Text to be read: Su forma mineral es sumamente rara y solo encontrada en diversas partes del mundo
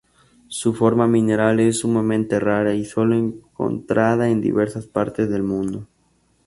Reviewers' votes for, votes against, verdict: 2, 0, accepted